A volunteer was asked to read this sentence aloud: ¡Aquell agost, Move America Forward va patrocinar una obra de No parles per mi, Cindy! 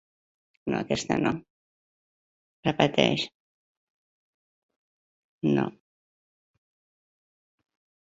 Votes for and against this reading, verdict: 0, 2, rejected